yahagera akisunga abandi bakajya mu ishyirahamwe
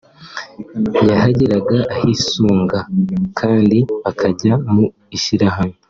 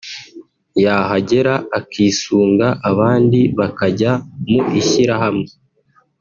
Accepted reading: second